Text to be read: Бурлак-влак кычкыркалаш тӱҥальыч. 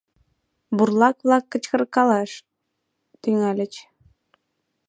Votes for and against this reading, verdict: 2, 0, accepted